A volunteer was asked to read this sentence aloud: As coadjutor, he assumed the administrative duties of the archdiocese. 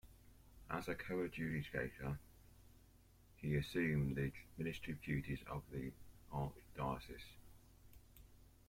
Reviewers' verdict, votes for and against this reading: rejected, 0, 2